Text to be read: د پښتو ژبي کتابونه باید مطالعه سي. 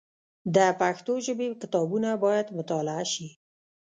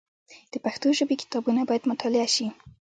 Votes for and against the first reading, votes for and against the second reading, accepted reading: 1, 2, 2, 0, second